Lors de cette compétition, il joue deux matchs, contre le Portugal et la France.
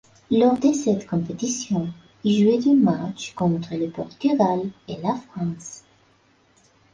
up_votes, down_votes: 0, 2